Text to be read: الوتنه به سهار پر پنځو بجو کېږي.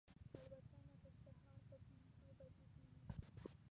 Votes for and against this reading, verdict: 0, 2, rejected